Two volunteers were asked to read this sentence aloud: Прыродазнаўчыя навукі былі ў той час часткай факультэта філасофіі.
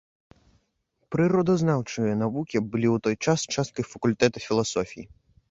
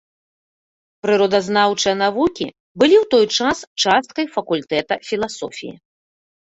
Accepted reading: first